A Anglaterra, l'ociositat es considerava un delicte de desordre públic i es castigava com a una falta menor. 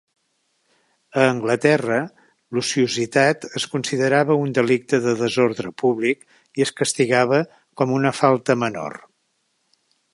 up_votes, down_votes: 2, 0